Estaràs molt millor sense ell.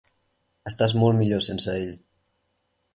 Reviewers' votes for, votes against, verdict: 2, 4, rejected